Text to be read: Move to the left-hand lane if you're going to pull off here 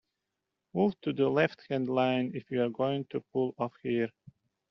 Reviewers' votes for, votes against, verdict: 1, 2, rejected